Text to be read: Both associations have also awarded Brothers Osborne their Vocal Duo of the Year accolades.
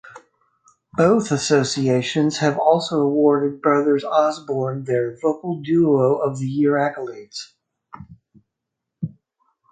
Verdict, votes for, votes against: accepted, 4, 0